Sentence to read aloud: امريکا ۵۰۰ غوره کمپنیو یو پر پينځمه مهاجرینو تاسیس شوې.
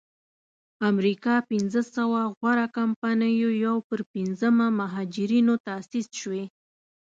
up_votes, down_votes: 0, 2